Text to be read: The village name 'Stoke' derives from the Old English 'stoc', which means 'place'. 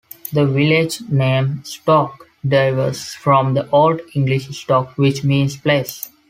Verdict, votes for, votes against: rejected, 1, 2